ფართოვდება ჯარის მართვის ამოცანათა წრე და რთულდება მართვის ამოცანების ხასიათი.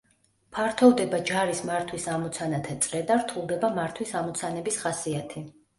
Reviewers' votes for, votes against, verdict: 2, 0, accepted